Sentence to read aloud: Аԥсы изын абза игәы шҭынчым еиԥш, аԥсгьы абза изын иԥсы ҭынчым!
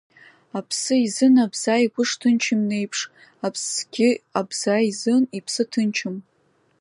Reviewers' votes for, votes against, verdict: 2, 0, accepted